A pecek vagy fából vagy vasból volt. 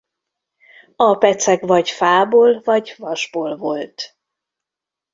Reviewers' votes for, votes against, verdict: 2, 0, accepted